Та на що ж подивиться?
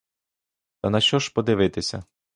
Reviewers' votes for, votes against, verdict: 0, 2, rejected